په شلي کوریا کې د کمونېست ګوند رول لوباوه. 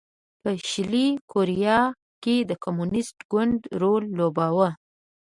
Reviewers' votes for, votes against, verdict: 2, 0, accepted